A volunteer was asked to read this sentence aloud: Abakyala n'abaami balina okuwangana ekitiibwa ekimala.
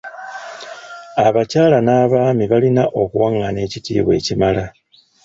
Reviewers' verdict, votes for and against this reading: rejected, 1, 2